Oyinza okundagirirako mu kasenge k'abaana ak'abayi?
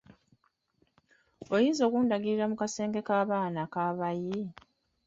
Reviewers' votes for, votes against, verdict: 2, 1, accepted